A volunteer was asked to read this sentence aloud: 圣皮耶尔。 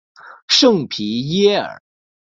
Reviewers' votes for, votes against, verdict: 1, 2, rejected